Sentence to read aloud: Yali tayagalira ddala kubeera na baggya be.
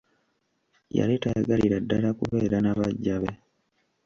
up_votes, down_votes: 1, 2